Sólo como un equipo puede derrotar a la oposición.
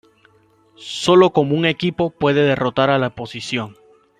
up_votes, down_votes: 1, 2